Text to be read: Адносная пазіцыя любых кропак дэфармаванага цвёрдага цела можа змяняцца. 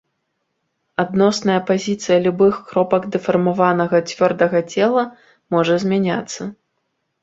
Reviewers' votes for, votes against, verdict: 2, 0, accepted